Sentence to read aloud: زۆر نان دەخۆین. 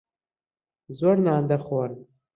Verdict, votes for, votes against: rejected, 0, 2